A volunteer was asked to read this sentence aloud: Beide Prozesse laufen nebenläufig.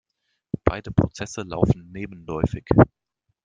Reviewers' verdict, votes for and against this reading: rejected, 1, 2